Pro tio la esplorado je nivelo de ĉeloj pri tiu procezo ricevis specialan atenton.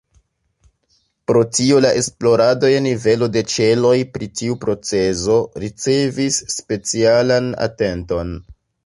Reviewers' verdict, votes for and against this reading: accepted, 2, 0